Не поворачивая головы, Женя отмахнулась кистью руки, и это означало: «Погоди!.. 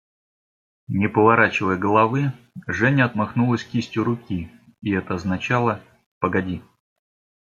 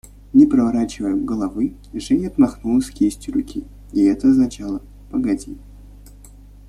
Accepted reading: first